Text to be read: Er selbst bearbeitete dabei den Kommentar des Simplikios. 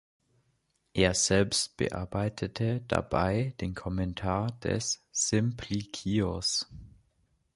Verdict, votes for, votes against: accepted, 2, 0